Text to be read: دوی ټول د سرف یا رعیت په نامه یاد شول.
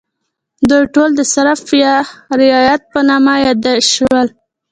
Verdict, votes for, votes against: accepted, 2, 1